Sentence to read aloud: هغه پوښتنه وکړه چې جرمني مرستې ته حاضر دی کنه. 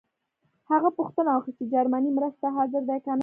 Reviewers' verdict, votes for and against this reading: rejected, 0, 2